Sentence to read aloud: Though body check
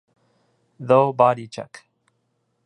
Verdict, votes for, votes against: accepted, 2, 0